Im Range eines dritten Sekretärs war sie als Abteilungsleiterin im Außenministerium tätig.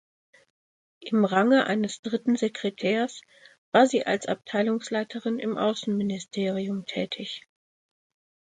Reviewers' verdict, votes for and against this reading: accepted, 2, 0